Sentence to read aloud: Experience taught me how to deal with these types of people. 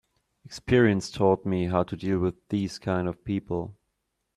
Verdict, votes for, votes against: rejected, 0, 2